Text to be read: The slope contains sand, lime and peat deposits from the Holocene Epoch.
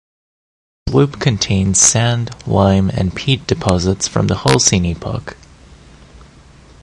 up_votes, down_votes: 0, 2